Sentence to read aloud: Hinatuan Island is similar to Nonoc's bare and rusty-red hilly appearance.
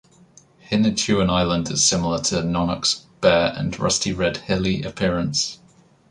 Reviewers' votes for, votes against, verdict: 2, 1, accepted